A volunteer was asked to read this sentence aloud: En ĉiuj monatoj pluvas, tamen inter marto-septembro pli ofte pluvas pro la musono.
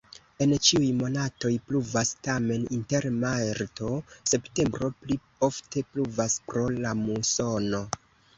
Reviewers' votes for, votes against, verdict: 2, 1, accepted